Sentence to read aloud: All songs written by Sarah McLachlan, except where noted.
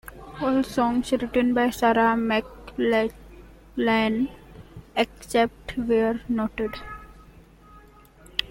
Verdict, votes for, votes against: rejected, 0, 2